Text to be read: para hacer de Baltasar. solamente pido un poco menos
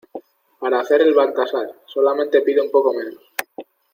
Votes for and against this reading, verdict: 1, 2, rejected